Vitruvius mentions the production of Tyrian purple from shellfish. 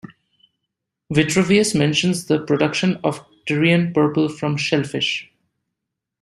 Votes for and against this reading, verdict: 2, 0, accepted